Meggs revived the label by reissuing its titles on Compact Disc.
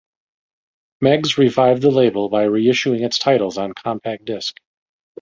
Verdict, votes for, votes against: accepted, 2, 0